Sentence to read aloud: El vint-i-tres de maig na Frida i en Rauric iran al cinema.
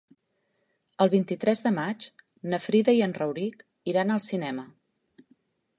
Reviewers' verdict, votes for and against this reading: accepted, 2, 0